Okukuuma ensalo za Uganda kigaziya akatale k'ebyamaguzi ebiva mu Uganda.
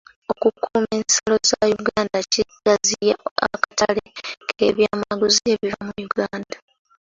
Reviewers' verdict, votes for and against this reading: rejected, 1, 2